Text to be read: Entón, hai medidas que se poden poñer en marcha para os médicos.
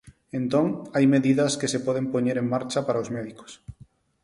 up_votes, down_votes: 4, 0